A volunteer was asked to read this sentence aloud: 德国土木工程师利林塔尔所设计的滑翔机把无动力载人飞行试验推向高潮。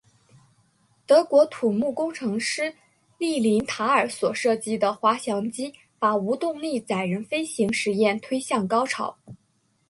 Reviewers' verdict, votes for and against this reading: accepted, 7, 0